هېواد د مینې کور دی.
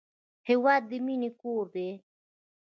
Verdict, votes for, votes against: accepted, 2, 0